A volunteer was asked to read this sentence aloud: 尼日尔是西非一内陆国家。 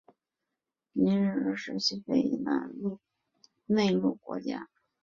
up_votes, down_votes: 1, 2